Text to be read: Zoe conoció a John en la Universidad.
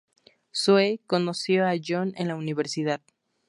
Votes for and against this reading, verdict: 2, 0, accepted